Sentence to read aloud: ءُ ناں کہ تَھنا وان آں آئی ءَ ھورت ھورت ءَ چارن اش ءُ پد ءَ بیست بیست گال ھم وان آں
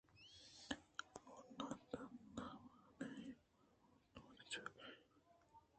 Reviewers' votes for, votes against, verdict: 0, 2, rejected